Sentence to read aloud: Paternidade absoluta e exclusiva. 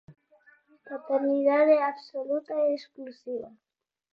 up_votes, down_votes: 0, 4